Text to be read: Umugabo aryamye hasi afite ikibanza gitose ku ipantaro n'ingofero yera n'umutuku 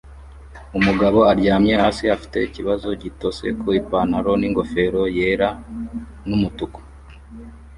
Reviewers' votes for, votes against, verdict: 1, 2, rejected